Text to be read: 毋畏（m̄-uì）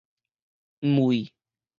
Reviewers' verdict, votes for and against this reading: rejected, 2, 2